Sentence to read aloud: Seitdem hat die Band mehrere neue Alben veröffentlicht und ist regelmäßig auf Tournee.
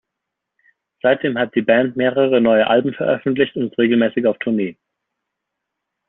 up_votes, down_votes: 1, 2